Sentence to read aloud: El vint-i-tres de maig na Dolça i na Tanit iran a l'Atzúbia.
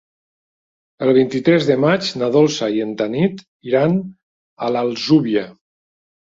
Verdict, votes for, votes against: rejected, 1, 2